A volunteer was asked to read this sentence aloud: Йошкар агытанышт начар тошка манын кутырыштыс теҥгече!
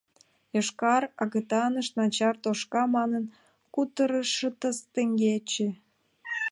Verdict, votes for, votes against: accepted, 2, 0